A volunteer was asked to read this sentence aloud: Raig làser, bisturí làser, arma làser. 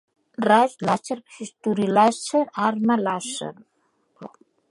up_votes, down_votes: 2, 0